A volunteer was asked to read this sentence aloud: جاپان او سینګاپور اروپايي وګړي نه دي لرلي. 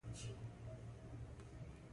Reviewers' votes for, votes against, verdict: 1, 2, rejected